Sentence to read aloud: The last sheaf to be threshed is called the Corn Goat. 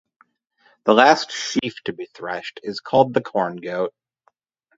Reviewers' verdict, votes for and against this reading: accepted, 2, 0